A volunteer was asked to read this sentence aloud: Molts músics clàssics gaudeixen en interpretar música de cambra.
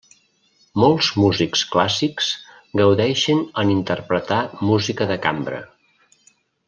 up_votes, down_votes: 3, 0